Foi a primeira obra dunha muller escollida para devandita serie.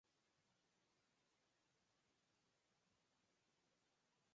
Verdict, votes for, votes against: rejected, 0, 4